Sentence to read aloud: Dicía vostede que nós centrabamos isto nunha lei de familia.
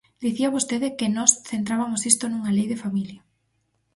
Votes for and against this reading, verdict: 0, 4, rejected